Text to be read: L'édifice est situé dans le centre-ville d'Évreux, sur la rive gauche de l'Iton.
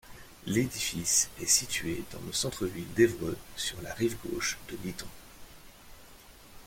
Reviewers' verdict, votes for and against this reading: accepted, 2, 0